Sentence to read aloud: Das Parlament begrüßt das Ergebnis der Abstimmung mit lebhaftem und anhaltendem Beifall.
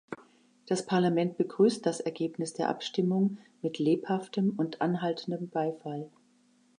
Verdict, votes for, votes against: accepted, 2, 0